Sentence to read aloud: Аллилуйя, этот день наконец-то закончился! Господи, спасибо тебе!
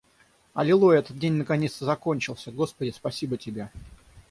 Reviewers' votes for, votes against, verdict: 6, 0, accepted